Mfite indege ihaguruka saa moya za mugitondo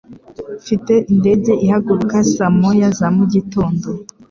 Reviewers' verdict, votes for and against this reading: accepted, 4, 0